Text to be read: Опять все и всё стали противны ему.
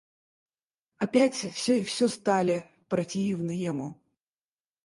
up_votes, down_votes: 2, 4